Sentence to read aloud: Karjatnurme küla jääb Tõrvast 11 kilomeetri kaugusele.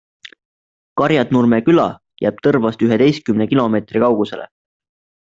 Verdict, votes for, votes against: rejected, 0, 2